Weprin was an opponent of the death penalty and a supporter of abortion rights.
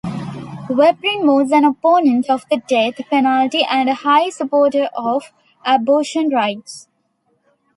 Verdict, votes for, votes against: rejected, 0, 2